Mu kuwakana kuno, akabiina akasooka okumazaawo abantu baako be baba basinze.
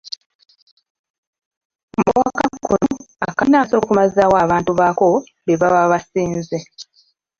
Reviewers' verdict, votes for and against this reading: rejected, 0, 2